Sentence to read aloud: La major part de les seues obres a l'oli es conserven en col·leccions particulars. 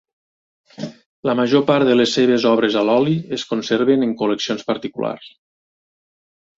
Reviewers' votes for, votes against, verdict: 2, 0, accepted